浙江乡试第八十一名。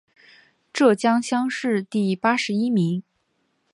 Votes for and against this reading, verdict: 5, 1, accepted